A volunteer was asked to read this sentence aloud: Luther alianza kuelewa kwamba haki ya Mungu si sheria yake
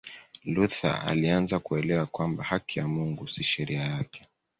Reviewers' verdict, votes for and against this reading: accepted, 2, 0